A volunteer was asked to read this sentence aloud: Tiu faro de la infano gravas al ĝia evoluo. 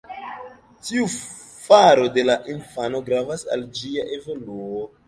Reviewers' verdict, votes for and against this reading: rejected, 0, 2